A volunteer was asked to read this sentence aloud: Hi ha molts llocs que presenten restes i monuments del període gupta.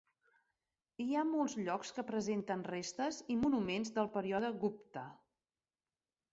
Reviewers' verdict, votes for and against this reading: rejected, 0, 2